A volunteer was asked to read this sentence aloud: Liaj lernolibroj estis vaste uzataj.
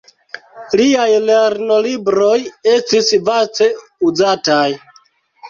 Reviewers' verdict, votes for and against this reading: rejected, 1, 2